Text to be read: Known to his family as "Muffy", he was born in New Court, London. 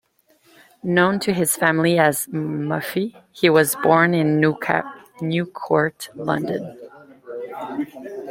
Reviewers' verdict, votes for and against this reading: rejected, 0, 2